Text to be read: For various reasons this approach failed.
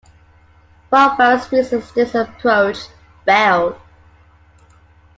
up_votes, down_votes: 2, 1